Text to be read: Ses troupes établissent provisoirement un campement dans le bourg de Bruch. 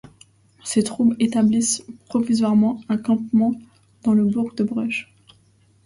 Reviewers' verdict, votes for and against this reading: accepted, 2, 0